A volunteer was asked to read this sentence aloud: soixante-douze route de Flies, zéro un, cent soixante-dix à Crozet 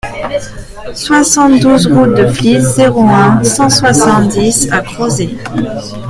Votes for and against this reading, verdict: 1, 2, rejected